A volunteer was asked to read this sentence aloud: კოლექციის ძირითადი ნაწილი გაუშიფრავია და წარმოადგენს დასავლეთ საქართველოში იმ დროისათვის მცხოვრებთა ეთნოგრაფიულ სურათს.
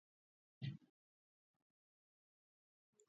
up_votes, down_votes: 0, 2